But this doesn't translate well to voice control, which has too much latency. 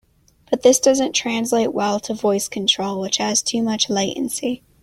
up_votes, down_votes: 2, 0